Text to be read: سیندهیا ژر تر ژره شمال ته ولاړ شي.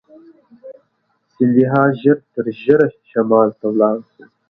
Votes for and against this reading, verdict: 2, 0, accepted